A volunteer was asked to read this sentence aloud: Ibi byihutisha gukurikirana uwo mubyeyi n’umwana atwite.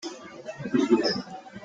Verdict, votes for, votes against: rejected, 0, 2